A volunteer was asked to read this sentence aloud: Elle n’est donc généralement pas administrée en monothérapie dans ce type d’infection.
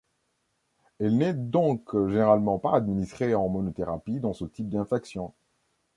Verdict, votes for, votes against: rejected, 0, 2